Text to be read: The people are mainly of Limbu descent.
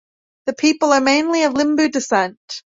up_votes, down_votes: 2, 0